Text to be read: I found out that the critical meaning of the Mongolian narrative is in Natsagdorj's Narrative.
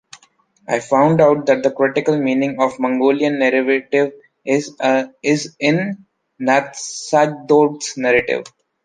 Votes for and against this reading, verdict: 1, 2, rejected